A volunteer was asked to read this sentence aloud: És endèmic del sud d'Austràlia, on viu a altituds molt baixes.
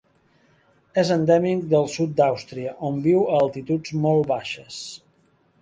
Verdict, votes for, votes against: rejected, 0, 2